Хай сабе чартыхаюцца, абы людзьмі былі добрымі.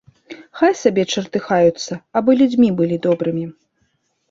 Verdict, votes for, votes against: accepted, 2, 0